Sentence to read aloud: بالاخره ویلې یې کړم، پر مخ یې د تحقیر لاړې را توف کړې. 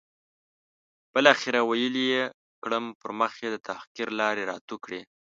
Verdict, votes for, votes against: rejected, 0, 2